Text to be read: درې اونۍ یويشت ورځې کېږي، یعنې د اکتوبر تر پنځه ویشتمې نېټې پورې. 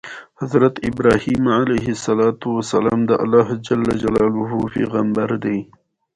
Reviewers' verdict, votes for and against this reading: rejected, 1, 2